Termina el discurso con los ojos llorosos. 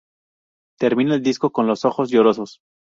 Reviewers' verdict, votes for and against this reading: rejected, 0, 2